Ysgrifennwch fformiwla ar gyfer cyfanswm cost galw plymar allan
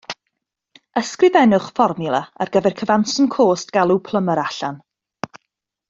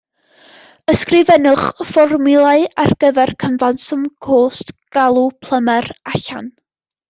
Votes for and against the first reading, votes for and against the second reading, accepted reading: 2, 0, 0, 2, first